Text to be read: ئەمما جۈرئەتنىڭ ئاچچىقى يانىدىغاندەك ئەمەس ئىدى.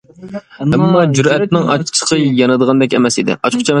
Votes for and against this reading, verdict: 0, 2, rejected